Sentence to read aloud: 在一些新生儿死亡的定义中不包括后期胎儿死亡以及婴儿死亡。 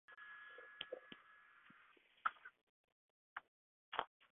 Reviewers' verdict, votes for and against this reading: rejected, 0, 6